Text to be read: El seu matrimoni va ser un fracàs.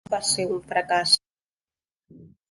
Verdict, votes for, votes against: rejected, 1, 3